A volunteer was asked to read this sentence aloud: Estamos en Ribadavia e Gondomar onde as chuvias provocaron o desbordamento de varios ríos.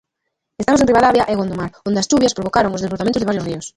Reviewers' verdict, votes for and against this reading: rejected, 0, 2